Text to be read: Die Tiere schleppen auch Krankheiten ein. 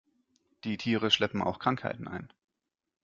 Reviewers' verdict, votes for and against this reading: accepted, 2, 0